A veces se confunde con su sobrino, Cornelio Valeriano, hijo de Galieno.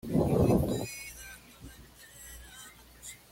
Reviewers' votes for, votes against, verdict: 1, 2, rejected